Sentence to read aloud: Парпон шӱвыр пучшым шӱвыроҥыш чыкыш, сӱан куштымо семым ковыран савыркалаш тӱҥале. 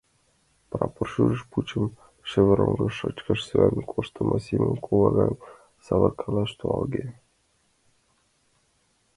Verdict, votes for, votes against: rejected, 0, 2